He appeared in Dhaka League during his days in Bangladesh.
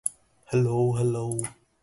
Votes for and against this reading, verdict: 0, 3, rejected